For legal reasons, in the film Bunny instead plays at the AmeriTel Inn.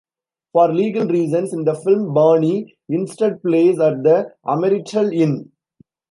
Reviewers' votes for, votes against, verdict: 1, 2, rejected